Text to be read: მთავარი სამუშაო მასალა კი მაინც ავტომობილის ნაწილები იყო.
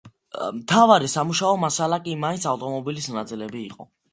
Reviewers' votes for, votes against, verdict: 2, 0, accepted